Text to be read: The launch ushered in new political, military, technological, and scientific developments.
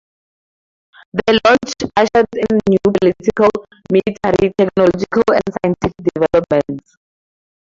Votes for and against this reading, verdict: 0, 2, rejected